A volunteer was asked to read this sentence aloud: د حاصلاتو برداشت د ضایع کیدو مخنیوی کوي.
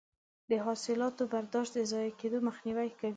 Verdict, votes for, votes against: accepted, 2, 0